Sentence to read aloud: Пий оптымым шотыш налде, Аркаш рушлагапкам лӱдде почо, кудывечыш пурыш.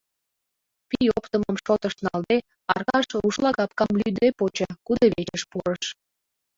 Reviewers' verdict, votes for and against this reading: rejected, 1, 2